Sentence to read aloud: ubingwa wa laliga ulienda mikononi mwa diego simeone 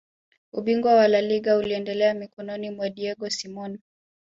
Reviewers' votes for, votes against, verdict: 3, 2, accepted